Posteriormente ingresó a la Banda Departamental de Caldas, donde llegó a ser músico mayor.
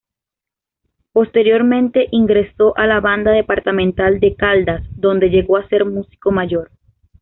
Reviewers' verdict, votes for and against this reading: accepted, 2, 0